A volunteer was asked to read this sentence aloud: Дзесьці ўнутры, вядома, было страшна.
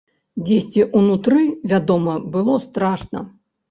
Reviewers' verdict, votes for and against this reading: accepted, 2, 1